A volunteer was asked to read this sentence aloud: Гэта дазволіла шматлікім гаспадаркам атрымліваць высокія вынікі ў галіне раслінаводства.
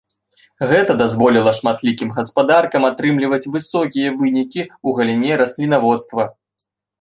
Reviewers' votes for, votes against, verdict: 3, 0, accepted